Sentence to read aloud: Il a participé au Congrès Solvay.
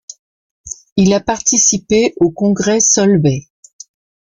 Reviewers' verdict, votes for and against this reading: accepted, 2, 0